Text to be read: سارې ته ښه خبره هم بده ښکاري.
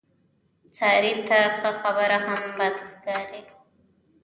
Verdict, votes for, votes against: rejected, 1, 2